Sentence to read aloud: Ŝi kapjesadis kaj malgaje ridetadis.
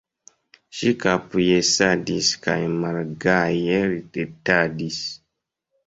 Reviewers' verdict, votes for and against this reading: rejected, 1, 2